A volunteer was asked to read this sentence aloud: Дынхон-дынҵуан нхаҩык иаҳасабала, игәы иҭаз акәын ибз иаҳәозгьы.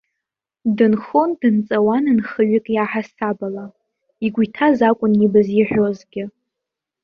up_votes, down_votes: 0, 2